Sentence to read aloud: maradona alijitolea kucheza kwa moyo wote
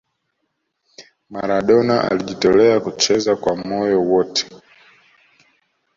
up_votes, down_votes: 2, 0